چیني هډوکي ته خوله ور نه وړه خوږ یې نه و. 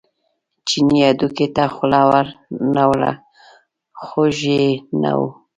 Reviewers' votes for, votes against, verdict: 0, 2, rejected